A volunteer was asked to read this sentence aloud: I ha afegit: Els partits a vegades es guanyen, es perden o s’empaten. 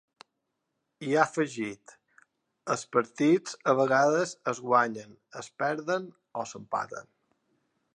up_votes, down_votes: 3, 0